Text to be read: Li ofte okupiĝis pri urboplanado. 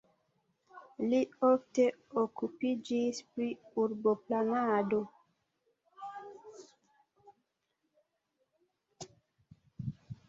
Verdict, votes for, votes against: accepted, 2, 1